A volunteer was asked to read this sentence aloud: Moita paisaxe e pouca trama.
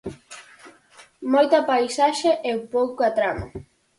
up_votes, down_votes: 4, 0